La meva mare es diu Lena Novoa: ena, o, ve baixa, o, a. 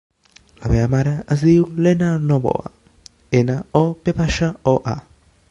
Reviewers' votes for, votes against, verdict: 2, 0, accepted